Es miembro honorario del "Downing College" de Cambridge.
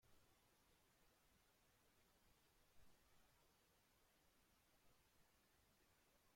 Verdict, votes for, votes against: rejected, 0, 2